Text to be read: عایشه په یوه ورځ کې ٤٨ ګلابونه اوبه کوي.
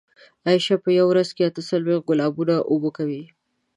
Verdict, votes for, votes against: rejected, 0, 2